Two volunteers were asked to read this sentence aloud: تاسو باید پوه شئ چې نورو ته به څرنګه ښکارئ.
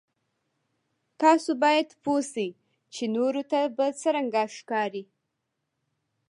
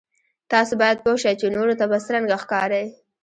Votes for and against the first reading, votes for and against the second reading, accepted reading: 2, 0, 0, 2, first